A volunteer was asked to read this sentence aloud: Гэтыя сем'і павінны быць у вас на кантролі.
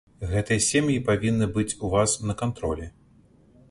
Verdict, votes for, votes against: accepted, 2, 0